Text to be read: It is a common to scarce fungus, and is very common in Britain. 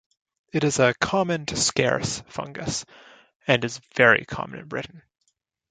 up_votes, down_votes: 1, 2